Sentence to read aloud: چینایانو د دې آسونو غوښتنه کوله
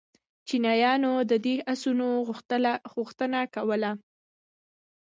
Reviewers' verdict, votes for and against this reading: accepted, 2, 0